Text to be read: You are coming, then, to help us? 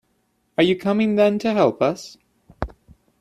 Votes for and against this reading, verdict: 1, 2, rejected